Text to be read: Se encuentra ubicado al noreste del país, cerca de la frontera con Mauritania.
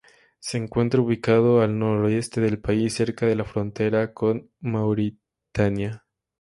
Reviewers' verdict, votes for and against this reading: rejected, 0, 2